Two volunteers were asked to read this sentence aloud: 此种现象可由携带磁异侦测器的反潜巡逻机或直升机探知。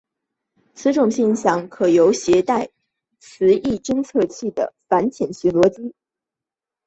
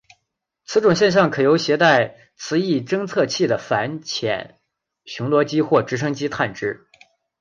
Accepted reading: second